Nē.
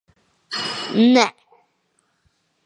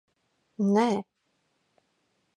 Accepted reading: second